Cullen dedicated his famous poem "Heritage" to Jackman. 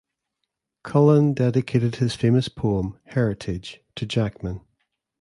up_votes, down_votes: 2, 0